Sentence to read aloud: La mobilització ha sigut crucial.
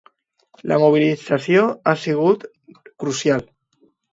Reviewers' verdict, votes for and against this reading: accepted, 2, 1